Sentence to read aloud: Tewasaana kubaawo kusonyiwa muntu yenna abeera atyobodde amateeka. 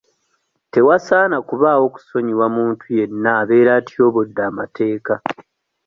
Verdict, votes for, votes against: accepted, 2, 0